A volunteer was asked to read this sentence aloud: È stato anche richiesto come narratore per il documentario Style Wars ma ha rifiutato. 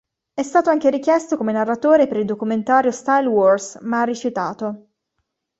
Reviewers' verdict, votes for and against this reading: accepted, 2, 0